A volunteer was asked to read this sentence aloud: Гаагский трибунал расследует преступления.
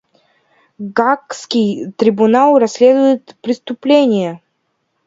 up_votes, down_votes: 2, 0